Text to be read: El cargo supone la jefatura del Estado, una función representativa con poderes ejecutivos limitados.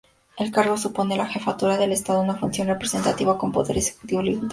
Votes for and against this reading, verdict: 0, 2, rejected